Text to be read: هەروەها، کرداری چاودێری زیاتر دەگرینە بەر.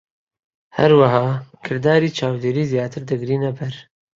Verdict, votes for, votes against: accepted, 3, 1